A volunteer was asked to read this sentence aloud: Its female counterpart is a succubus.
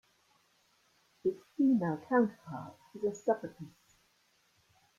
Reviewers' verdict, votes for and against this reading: rejected, 0, 2